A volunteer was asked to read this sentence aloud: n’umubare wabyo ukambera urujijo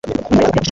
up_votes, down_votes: 0, 2